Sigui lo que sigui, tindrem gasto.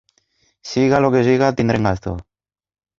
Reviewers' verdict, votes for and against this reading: rejected, 1, 2